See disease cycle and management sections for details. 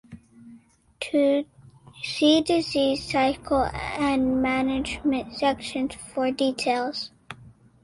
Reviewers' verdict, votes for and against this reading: accepted, 2, 0